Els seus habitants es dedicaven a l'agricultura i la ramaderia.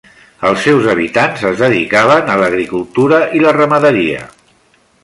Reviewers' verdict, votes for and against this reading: accepted, 3, 0